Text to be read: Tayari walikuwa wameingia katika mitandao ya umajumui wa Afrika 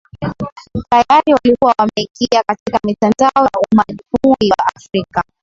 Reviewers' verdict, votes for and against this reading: rejected, 0, 2